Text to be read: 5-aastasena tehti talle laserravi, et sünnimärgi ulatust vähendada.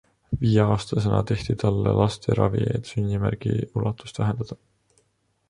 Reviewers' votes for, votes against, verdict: 0, 2, rejected